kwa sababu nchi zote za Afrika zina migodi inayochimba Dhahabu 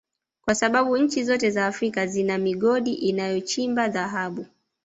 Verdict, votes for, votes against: accepted, 2, 1